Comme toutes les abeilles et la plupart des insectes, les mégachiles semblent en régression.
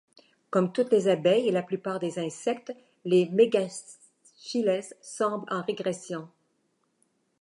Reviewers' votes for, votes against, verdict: 1, 2, rejected